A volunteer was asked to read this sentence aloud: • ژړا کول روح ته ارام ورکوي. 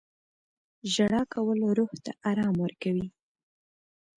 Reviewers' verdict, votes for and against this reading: accepted, 2, 0